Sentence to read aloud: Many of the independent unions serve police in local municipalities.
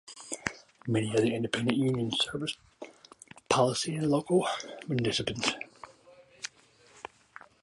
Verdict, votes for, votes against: rejected, 1, 2